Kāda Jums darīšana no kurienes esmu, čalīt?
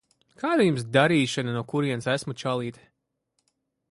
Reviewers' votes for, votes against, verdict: 3, 0, accepted